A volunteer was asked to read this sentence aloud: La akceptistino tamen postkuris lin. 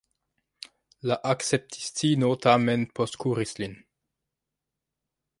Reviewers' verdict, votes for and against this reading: rejected, 0, 2